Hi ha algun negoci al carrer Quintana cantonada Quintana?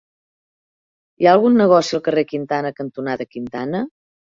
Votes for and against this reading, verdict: 3, 0, accepted